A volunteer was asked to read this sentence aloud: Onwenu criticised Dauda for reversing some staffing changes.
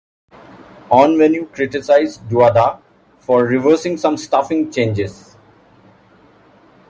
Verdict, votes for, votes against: rejected, 1, 2